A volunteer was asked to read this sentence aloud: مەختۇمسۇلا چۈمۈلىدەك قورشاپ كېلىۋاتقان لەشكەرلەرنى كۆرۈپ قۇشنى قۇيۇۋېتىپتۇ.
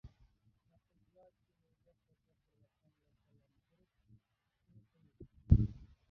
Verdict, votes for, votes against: rejected, 0, 2